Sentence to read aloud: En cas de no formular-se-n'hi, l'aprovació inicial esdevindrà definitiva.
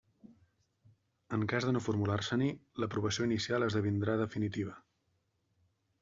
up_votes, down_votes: 2, 0